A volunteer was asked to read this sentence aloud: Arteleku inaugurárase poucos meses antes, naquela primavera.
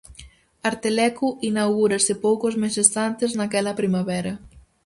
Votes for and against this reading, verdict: 0, 4, rejected